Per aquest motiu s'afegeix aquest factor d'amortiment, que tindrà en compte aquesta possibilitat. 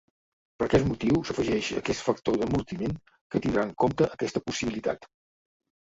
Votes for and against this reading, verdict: 2, 0, accepted